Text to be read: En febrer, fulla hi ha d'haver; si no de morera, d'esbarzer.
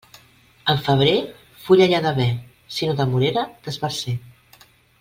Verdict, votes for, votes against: accepted, 2, 0